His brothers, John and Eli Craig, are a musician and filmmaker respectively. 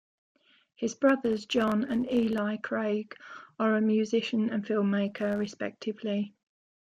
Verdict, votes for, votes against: accepted, 2, 0